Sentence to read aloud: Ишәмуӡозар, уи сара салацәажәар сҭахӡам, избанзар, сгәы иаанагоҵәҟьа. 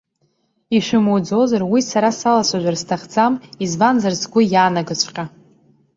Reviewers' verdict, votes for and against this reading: accepted, 2, 0